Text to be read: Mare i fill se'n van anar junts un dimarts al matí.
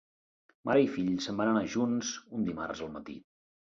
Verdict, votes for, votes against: accepted, 3, 0